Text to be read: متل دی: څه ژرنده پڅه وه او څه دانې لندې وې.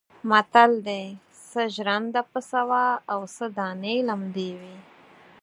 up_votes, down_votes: 2, 4